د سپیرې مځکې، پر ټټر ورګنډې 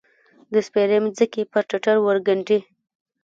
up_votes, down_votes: 1, 2